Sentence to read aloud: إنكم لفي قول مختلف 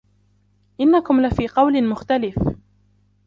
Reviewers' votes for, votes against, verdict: 2, 1, accepted